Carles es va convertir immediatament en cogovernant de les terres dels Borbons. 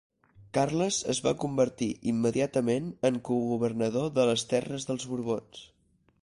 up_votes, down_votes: 2, 4